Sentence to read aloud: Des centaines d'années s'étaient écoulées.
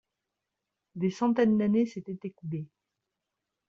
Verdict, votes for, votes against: accepted, 2, 0